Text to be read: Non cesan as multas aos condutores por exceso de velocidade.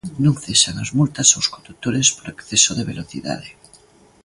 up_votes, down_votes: 2, 0